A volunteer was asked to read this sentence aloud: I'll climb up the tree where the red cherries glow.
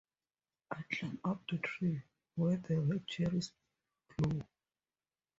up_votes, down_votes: 2, 2